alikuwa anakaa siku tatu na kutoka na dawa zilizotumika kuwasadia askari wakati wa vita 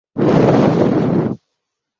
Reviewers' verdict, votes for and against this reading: rejected, 0, 2